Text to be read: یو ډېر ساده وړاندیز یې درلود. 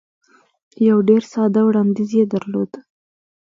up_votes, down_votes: 2, 0